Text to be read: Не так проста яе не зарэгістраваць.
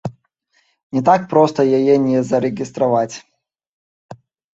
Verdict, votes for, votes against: accepted, 3, 1